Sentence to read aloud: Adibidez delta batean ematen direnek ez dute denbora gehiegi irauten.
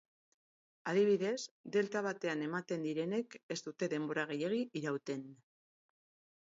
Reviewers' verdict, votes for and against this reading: rejected, 2, 2